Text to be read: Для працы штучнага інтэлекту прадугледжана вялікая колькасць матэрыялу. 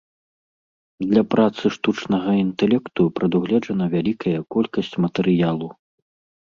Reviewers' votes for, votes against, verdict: 2, 0, accepted